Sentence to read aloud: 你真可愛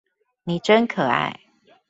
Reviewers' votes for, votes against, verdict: 2, 0, accepted